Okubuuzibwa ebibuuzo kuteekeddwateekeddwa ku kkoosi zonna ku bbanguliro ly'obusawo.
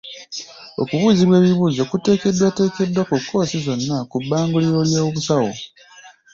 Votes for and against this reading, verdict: 1, 2, rejected